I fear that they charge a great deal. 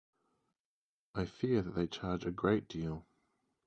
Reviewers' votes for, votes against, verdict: 2, 2, rejected